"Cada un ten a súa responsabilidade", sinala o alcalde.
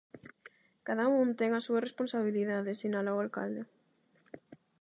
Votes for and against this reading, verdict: 8, 0, accepted